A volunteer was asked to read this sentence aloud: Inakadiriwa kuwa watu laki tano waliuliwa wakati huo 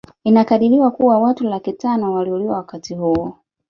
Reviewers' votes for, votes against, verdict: 2, 0, accepted